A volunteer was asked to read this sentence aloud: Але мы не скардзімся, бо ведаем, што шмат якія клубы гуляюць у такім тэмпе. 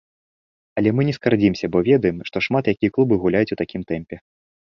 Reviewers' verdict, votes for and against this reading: rejected, 0, 2